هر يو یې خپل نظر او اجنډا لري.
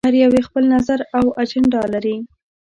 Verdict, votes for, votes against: accepted, 2, 0